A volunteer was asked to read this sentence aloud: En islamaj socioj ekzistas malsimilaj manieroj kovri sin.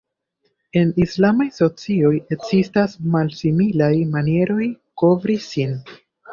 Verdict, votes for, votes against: accepted, 2, 0